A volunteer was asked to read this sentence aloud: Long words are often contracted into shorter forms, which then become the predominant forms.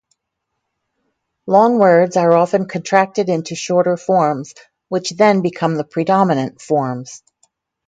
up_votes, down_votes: 2, 0